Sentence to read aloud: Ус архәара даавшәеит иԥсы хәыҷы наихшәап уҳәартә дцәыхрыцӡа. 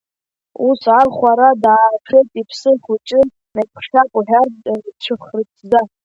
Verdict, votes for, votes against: rejected, 1, 2